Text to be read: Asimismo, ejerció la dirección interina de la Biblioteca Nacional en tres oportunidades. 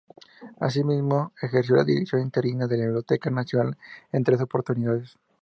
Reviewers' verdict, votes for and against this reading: rejected, 2, 2